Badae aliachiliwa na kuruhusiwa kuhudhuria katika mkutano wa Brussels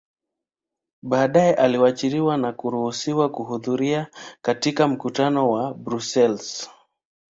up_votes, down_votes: 3, 0